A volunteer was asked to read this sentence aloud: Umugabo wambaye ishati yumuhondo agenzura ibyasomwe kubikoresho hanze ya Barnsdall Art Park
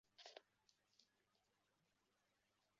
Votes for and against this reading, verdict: 0, 2, rejected